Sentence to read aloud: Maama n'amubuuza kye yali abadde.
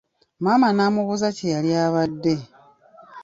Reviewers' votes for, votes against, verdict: 2, 0, accepted